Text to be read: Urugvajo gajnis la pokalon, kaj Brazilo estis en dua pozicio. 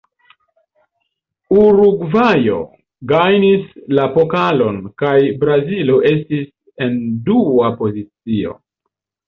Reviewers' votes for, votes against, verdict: 1, 2, rejected